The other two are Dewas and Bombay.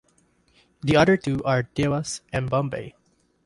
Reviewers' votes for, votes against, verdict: 2, 0, accepted